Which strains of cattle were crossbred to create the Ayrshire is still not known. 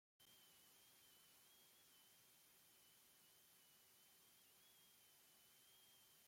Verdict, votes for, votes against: rejected, 0, 2